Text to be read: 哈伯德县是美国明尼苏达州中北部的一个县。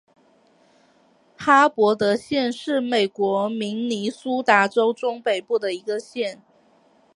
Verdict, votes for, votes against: accepted, 2, 0